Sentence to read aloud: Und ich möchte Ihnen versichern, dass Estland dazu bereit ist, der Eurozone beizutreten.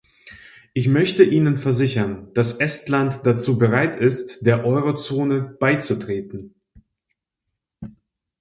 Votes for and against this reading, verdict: 1, 2, rejected